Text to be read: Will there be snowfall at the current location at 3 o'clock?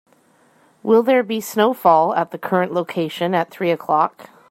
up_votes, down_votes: 0, 2